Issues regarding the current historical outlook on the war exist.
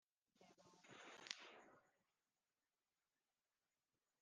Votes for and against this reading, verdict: 0, 2, rejected